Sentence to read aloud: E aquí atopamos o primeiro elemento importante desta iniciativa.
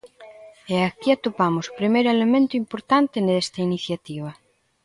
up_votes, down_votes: 1, 2